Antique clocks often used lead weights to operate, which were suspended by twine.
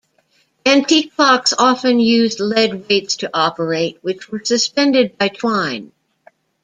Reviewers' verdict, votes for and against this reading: accepted, 2, 0